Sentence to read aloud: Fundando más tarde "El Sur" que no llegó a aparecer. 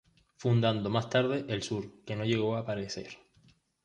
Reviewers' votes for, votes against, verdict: 2, 0, accepted